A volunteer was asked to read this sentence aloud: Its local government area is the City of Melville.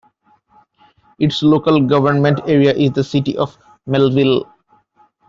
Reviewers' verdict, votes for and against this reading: accepted, 2, 0